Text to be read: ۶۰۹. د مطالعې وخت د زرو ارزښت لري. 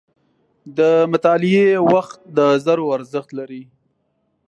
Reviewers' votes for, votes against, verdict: 0, 2, rejected